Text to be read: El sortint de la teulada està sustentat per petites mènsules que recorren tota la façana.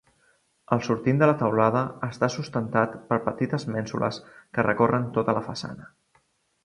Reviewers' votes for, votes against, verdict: 2, 0, accepted